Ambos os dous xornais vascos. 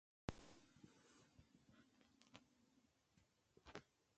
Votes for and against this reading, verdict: 0, 2, rejected